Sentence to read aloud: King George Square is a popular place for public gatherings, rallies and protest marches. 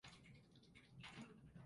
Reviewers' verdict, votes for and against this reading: rejected, 0, 2